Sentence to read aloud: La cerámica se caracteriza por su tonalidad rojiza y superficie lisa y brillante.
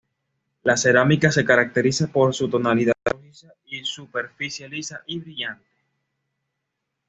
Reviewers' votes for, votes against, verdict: 2, 0, accepted